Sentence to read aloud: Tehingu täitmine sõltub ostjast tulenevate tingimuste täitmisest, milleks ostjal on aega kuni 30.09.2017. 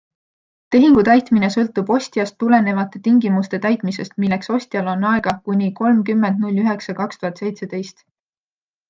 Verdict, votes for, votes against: rejected, 0, 2